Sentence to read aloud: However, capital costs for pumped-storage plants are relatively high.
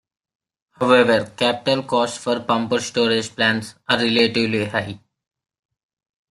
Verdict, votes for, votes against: accepted, 2, 1